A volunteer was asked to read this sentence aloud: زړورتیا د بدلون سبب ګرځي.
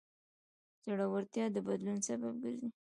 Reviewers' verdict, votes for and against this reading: rejected, 1, 2